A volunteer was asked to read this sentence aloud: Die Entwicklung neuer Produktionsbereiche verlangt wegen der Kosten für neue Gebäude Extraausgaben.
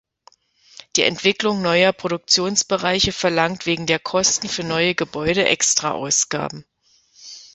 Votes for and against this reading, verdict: 1, 2, rejected